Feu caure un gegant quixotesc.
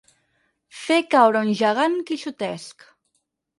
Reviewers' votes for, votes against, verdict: 2, 4, rejected